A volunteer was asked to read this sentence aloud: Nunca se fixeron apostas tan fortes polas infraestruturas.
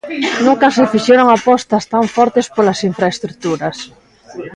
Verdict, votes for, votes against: accepted, 2, 0